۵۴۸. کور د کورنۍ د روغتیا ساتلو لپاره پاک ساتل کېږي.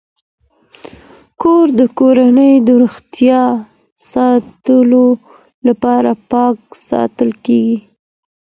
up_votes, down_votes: 0, 2